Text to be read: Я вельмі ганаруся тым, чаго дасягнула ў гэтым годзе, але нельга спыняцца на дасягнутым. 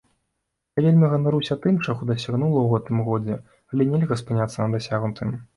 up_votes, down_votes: 2, 0